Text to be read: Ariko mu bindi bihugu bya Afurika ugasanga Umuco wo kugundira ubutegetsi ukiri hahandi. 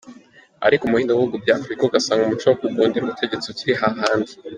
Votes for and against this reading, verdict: 2, 0, accepted